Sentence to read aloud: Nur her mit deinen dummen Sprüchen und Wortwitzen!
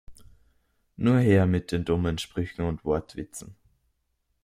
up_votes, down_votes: 0, 2